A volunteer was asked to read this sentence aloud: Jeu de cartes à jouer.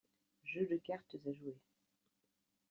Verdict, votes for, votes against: accepted, 2, 0